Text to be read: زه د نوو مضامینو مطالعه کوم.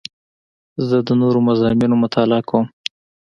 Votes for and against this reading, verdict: 2, 0, accepted